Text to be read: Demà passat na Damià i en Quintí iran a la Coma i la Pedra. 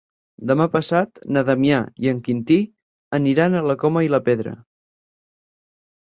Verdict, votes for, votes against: rejected, 2, 6